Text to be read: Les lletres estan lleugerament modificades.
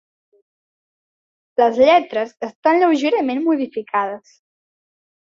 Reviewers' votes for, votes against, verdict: 2, 0, accepted